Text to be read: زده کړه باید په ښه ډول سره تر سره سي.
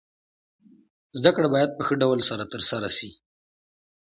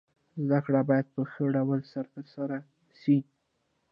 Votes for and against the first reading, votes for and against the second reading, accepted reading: 2, 0, 1, 2, first